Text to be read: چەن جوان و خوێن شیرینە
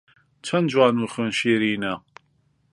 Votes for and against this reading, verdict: 2, 0, accepted